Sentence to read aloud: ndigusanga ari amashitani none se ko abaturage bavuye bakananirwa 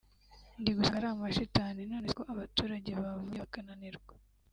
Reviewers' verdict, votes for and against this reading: accepted, 2, 0